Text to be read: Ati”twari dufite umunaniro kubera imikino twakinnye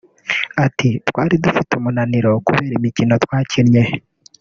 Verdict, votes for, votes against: rejected, 1, 2